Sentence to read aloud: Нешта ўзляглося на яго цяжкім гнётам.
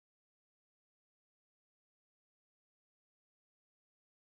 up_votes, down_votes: 0, 2